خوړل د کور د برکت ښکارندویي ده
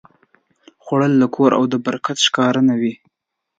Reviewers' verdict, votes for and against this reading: accepted, 2, 0